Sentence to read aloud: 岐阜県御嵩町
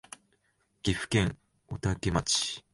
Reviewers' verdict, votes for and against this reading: rejected, 1, 2